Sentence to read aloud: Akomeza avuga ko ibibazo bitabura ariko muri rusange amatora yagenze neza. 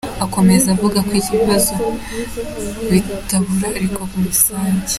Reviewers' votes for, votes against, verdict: 0, 3, rejected